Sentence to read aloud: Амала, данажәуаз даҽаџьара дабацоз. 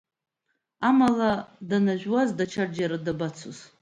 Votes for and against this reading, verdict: 2, 0, accepted